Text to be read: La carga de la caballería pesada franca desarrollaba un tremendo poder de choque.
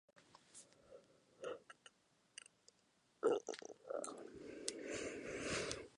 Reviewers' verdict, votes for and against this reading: rejected, 0, 2